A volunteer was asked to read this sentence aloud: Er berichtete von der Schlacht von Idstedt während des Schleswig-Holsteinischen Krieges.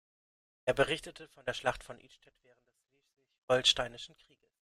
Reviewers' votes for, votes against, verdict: 1, 3, rejected